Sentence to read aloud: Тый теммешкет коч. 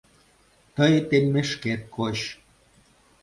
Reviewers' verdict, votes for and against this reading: accepted, 2, 0